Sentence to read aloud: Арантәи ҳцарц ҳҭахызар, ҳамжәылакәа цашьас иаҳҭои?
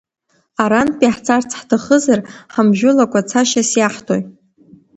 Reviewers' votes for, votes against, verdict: 2, 1, accepted